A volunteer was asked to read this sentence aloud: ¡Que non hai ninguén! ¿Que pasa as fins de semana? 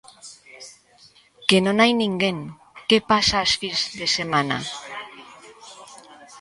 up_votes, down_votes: 1, 2